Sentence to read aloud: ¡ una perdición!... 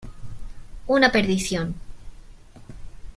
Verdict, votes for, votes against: accepted, 2, 1